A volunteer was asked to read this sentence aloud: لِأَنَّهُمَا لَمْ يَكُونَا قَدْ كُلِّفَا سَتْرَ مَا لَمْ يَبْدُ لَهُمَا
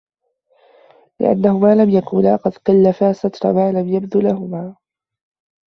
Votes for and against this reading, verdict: 1, 2, rejected